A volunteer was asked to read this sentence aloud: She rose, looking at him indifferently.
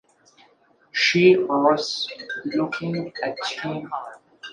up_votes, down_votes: 0, 2